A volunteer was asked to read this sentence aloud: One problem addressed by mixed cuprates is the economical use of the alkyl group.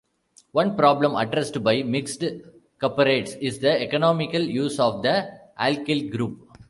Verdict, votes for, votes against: rejected, 2, 3